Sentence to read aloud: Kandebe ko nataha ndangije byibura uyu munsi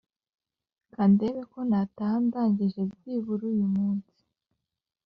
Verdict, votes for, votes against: accepted, 2, 0